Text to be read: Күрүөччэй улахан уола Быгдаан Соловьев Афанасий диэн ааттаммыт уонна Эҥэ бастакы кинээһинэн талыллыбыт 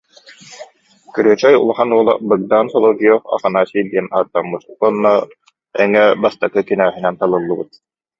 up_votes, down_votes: 0, 2